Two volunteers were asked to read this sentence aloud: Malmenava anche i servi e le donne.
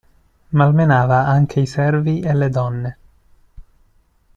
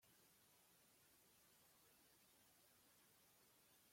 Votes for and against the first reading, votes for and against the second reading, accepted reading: 2, 0, 0, 2, first